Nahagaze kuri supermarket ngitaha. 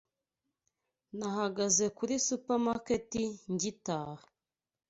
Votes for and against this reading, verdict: 2, 0, accepted